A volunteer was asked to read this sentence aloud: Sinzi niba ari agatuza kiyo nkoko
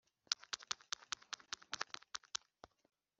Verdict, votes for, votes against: rejected, 0, 2